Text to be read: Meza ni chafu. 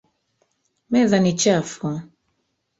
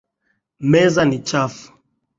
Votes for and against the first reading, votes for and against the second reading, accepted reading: 1, 2, 2, 0, second